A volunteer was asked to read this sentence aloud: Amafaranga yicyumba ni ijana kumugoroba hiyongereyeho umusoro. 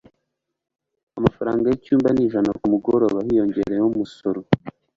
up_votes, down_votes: 2, 0